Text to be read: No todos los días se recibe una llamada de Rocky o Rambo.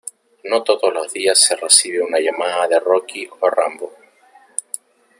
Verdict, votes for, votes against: rejected, 0, 2